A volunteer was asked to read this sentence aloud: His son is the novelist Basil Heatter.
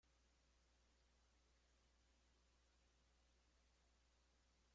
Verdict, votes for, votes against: rejected, 0, 2